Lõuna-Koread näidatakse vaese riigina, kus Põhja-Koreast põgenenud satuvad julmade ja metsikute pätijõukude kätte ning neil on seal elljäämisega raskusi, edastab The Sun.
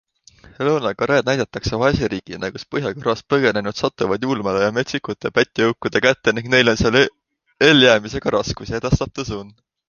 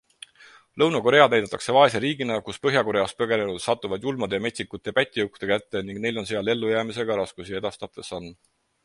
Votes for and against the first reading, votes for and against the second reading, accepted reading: 2, 1, 2, 4, first